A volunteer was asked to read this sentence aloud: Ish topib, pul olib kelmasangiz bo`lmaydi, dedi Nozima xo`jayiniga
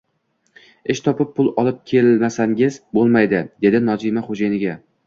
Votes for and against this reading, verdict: 2, 0, accepted